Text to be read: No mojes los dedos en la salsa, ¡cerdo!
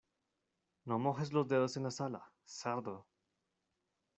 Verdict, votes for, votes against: rejected, 1, 2